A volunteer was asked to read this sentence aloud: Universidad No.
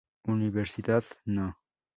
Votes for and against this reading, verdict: 2, 2, rejected